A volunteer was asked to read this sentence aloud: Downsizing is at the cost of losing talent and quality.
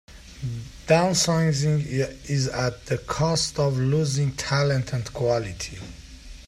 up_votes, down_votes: 0, 2